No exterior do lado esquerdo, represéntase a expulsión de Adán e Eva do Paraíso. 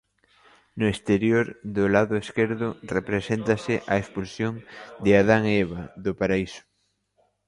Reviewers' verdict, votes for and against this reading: rejected, 0, 2